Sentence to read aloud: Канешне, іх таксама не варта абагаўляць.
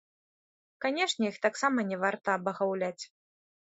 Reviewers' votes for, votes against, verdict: 1, 2, rejected